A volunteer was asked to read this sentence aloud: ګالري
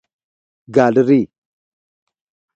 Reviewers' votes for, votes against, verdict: 2, 0, accepted